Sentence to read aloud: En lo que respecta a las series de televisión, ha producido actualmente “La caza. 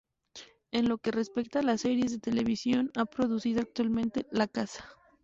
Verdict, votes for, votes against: accepted, 2, 0